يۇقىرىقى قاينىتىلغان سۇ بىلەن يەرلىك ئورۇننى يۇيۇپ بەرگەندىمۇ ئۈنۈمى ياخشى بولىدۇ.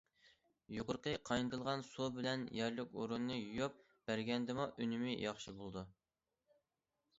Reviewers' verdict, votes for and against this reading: accepted, 2, 0